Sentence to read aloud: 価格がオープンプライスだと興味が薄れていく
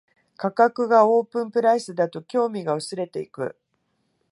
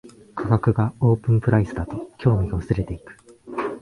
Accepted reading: first